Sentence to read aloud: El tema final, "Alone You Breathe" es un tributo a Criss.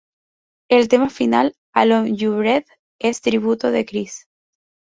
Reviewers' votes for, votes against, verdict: 0, 4, rejected